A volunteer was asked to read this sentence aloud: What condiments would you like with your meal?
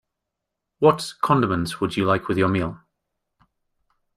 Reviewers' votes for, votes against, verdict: 2, 0, accepted